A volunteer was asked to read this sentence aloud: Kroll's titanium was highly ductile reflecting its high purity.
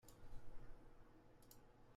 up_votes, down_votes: 0, 2